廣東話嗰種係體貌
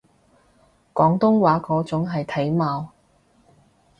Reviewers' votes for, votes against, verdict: 2, 0, accepted